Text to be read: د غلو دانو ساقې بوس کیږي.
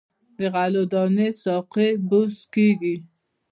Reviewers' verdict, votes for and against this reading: accepted, 2, 0